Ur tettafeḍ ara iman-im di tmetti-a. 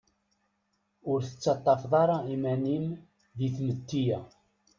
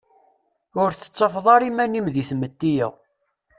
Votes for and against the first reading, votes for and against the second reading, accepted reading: 0, 2, 2, 0, second